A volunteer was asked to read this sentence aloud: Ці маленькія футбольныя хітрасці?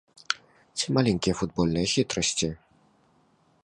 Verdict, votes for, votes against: accepted, 2, 0